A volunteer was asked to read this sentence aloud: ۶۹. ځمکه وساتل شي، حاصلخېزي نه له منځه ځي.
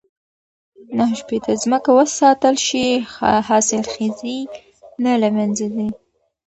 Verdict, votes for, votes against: rejected, 0, 2